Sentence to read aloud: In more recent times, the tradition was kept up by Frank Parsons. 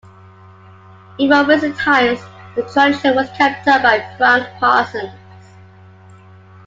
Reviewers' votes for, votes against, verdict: 0, 2, rejected